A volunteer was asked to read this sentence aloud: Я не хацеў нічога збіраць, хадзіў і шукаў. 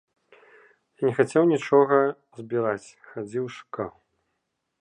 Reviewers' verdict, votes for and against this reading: rejected, 0, 2